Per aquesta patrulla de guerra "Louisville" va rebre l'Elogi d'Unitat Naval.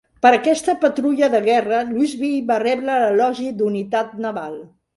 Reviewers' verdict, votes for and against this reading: accepted, 2, 0